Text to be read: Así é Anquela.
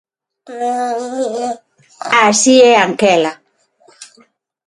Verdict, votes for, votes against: rejected, 0, 6